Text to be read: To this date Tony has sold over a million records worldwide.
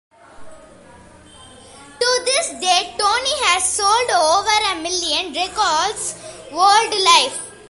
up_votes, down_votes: 2, 0